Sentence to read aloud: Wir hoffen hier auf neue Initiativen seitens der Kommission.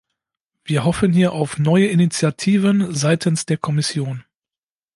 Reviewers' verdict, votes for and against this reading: accepted, 2, 0